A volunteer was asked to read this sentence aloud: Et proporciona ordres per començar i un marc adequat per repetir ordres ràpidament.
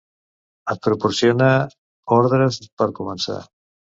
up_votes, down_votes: 0, 2